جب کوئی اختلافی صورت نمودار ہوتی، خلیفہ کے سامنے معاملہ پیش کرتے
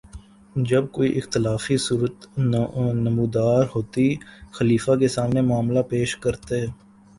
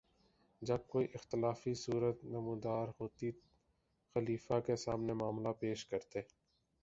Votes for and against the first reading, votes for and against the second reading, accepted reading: 1, 2, 2, 0, second